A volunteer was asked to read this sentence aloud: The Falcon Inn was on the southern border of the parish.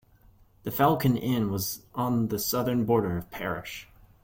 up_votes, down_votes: 0, 2